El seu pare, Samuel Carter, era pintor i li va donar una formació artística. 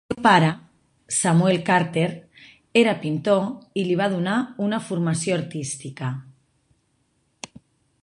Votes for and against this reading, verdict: 0, 2, rejected